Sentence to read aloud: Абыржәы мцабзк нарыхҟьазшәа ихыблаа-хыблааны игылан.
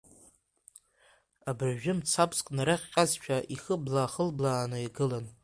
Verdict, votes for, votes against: accepted, 2, 0